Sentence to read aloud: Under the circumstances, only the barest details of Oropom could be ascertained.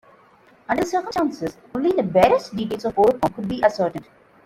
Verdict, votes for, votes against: rejected, 1, 2